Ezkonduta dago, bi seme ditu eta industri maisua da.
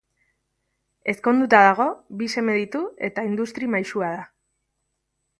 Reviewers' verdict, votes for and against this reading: accepted, 2, 0